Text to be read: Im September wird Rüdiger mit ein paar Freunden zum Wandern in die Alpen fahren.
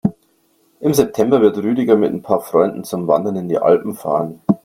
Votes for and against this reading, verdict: 2, 0, accepted